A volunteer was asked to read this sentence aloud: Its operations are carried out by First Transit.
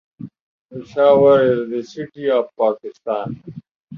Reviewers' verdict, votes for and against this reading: rejected, 0, 2